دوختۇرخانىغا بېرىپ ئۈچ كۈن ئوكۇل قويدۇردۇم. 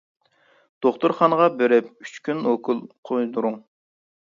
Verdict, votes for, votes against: rejected, 0, 2